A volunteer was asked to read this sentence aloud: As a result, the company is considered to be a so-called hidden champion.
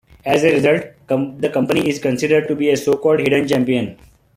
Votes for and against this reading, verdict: 0, 2, rejected